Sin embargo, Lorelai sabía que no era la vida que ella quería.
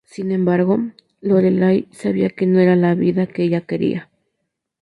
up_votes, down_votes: 2, 0